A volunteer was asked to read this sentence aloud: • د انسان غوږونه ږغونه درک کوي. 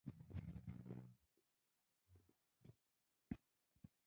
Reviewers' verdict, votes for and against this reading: rejected, 1, 3